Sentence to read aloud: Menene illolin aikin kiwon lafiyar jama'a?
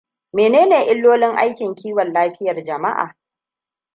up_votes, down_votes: 2, 0